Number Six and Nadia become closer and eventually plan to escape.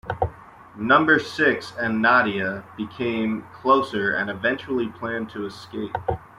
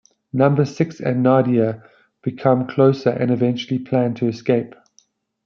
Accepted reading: second